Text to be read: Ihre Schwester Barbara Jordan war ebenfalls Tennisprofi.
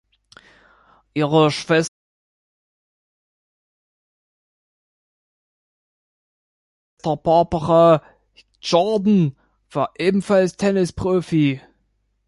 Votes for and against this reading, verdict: 1, 3, rejected